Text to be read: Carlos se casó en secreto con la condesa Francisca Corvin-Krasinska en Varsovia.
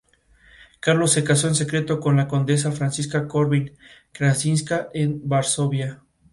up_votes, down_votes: 4, 2